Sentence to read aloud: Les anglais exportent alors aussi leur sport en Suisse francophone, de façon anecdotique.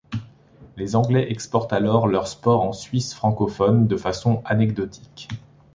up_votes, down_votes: 1, 2